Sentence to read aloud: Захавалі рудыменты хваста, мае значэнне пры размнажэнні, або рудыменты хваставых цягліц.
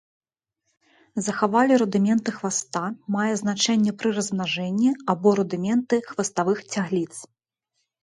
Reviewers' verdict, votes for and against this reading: accepted, 2, 0